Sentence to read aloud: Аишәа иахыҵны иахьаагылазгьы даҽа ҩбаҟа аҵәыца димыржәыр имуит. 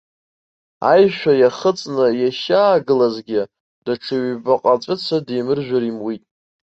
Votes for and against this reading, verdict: 2, 0, accepted